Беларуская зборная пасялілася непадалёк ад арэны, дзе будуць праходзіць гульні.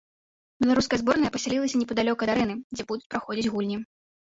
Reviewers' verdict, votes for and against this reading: rejected, 1, 2